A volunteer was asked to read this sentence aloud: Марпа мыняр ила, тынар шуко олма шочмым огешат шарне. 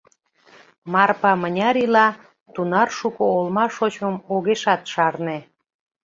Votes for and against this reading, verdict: 0, 2, rejected